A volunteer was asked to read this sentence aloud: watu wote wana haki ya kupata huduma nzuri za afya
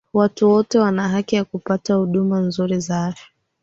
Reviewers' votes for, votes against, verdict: 0, 2, rejected